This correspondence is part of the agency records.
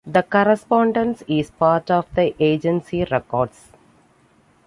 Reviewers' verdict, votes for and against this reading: rejected, 1, 2